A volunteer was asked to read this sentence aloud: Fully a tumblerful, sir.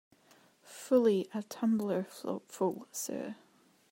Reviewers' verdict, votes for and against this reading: rejected, 0, 2